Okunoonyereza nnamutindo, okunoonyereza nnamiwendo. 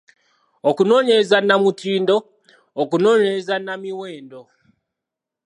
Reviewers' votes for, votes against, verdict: 2, 0, accepted